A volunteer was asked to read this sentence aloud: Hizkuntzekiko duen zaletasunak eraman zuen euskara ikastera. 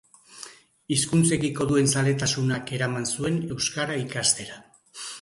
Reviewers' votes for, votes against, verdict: 6, 0, accepted